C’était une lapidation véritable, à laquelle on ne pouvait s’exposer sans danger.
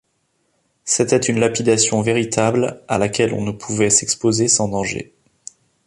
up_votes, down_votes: 2, 0